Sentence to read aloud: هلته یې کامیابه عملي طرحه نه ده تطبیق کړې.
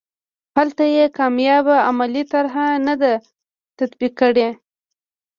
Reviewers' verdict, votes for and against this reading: accepted, 2, 0